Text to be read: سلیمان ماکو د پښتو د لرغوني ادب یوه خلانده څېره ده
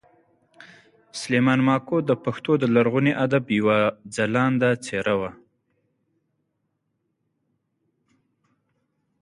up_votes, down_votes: 1, 2